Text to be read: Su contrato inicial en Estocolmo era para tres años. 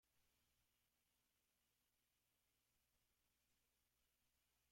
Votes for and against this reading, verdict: 0, 2, rejected